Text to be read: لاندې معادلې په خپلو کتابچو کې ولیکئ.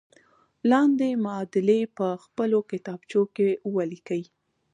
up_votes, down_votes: 2, 0